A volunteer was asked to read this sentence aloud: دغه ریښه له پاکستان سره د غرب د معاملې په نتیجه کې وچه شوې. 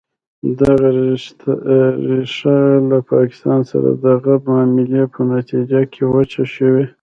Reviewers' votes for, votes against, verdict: 1, 2, rejected